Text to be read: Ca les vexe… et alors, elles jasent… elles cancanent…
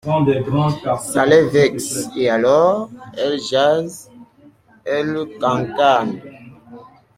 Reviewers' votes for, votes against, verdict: 1, 2, rejected